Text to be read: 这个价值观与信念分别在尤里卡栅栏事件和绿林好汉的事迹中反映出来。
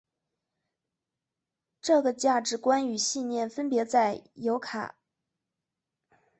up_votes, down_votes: 1, 3